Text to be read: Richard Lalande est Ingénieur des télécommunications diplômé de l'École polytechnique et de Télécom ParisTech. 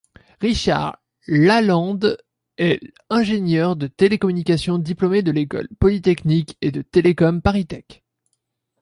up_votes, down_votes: 1, 2